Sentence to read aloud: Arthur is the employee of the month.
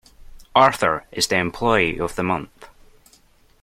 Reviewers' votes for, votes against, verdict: 2, 0, accepted